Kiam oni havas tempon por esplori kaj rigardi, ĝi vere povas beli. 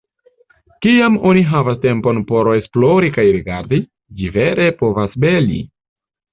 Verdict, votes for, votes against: accepted, 2, 0